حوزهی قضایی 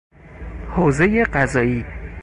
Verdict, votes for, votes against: accepted, 4, 0